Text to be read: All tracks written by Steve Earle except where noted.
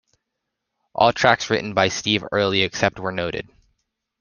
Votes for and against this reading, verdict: 1, 2, rejected